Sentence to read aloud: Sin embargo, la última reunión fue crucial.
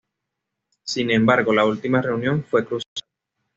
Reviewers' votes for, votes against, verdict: 2, 0, accepted